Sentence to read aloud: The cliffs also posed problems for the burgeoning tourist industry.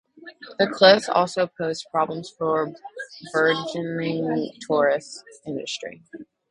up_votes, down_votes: 0, 2